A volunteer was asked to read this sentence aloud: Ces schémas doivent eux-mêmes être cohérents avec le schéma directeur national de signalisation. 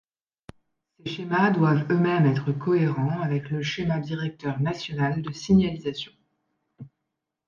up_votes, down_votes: 2, 0